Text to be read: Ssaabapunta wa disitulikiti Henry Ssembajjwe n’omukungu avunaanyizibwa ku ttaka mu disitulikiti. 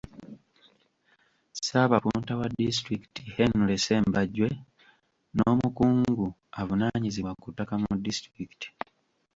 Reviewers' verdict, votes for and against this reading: rejected, 1, 2